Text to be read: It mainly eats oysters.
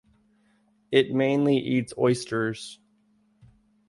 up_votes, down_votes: 2, 0